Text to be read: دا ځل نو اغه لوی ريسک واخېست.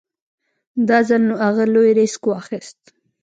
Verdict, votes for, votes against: accepted, 2, 0